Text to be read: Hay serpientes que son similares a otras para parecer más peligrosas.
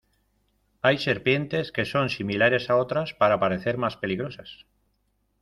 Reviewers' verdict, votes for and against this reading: accepted, 2, 0